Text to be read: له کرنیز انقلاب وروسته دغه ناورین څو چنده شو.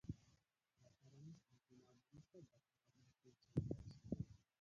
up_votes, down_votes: 0, 2